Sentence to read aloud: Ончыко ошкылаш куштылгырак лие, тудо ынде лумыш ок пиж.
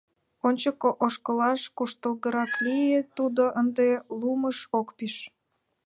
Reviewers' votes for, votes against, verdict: 2, 0, accepted